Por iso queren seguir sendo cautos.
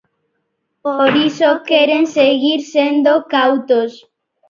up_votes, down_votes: 0, 2